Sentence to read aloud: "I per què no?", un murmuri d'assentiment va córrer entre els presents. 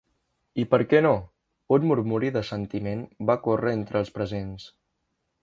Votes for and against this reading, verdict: 2, 0, accepted